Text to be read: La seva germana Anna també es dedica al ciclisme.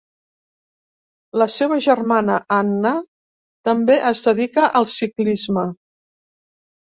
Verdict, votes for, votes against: accepted, 2, 0